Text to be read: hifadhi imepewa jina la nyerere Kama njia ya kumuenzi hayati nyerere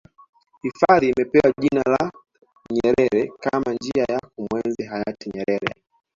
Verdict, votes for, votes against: rejected, 1, 2